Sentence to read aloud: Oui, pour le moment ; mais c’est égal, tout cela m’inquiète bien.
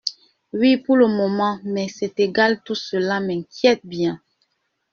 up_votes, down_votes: 2, 0